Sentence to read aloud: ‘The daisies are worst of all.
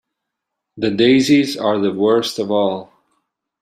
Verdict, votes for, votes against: rejected, 1, 2